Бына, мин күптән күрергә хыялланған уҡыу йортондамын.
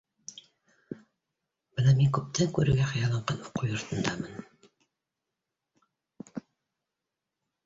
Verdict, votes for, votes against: rejected, 0, 2